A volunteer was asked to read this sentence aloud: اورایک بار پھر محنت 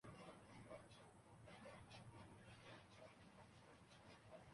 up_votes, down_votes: 0, 2